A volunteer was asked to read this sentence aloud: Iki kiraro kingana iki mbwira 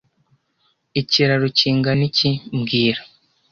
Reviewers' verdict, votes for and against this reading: rejected, 1, 2